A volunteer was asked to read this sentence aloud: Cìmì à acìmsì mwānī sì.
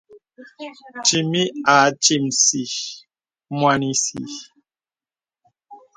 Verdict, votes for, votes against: accepted, 2, 0